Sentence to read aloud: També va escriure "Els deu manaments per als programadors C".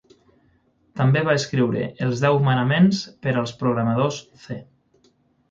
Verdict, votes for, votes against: rejected, 3, 6